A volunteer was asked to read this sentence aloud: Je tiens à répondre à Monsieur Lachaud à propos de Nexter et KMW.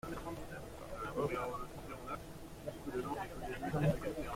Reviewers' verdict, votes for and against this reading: rejected, 0, 2